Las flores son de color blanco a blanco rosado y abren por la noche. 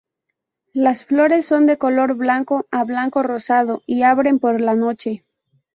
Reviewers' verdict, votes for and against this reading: accepted, 6, 0